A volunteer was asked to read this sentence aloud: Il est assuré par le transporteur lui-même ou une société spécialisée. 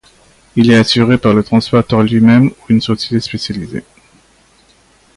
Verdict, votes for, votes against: accepted, 2, 0